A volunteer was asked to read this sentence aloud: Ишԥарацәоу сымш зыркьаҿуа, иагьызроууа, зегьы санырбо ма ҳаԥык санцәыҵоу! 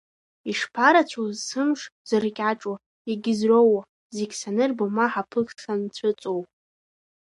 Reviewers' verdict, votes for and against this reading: rejected, 1, 2